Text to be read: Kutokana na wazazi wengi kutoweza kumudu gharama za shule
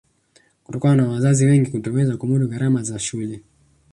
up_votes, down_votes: 3, 1